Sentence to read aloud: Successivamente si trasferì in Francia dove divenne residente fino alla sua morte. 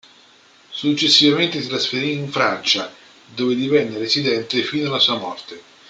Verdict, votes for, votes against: accepted, 2, 0